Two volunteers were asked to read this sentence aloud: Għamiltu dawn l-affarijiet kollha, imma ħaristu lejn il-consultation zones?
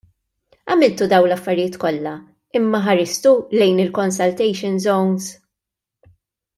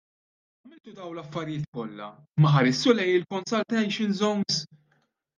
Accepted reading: first